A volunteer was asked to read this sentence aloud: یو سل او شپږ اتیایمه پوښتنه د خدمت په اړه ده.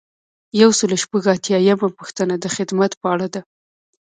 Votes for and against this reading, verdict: 2, 0, accepted